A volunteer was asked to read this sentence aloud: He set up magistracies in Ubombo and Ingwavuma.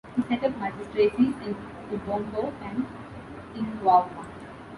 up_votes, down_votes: 0, 2